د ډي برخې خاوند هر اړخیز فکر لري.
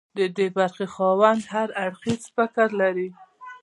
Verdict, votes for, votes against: accepted, 2, 0